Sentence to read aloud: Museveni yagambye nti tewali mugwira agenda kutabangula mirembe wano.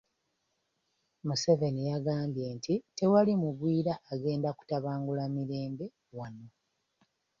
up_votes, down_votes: 1, 2